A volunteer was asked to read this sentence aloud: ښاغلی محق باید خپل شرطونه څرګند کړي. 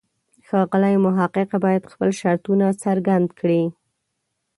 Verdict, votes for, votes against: rejected, 1, 2